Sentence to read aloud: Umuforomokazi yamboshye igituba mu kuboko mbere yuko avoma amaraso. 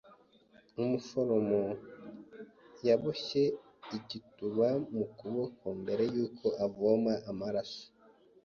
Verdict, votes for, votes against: rejected, 1, 2